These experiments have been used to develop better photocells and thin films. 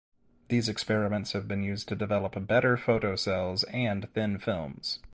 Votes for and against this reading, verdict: 0, 2, rejected